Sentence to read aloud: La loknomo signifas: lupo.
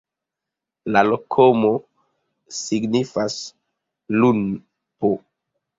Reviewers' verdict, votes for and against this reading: rejected, 1, 2